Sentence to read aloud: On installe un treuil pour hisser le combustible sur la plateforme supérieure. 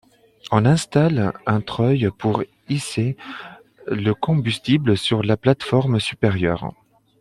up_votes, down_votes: 2, 1